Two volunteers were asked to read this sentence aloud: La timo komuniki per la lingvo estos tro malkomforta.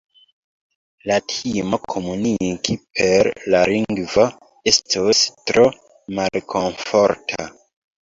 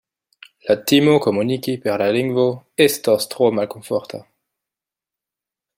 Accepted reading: second